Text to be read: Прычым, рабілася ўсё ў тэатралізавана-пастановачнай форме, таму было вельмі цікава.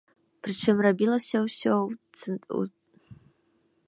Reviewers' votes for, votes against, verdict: 0, 2, rejected